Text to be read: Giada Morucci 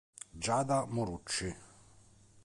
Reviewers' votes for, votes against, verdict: 2, 0, accepted